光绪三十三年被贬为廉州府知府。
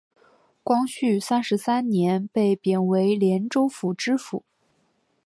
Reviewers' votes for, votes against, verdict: 4, 1, accepted